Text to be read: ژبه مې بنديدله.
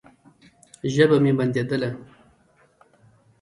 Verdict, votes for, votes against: rejected, 0, 2